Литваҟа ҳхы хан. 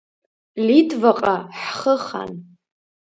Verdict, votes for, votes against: rejected, 1, 2